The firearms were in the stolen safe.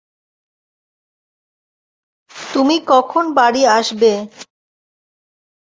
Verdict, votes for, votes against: rejected, 0, 2